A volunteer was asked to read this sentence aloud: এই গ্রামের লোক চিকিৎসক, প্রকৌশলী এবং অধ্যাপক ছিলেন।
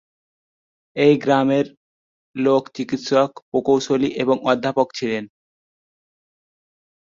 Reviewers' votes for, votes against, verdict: 1, 2, rejected